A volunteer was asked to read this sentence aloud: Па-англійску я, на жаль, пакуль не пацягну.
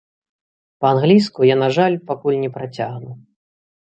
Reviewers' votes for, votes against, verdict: 0, 2, rejected